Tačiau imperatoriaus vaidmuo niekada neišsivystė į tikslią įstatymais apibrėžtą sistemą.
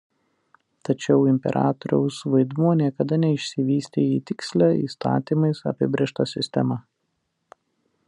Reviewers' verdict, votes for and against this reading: accepted, 2, 0